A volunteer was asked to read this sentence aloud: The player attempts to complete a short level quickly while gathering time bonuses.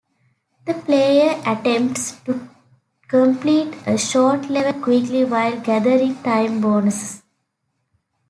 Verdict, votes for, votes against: rejected, 0, 2